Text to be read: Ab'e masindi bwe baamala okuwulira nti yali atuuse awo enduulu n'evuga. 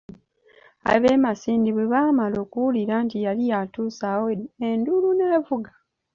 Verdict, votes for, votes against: accepted, 3, 0